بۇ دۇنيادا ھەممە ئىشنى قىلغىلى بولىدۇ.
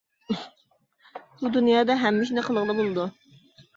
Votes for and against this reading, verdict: 2, 1, accepted